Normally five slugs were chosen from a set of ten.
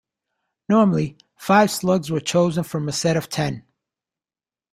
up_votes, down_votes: 2, 0